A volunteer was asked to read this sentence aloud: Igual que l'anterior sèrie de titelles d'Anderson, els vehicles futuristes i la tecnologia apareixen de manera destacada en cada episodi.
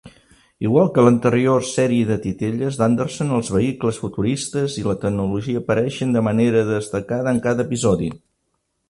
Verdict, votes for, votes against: accepted, 2, 0